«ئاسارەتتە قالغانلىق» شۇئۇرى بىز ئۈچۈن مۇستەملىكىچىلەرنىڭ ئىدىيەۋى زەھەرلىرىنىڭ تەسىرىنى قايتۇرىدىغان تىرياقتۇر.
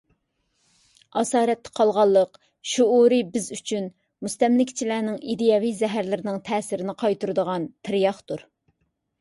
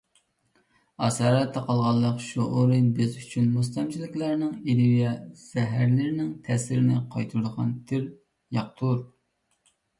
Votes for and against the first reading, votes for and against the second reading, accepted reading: 2, 0, 0, 2, first